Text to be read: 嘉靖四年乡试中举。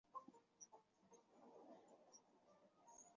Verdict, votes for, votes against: rejected, 0, 2